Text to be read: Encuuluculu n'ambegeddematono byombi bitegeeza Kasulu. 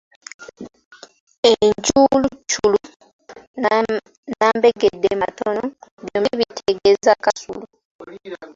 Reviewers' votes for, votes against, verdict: 1, 3, rejected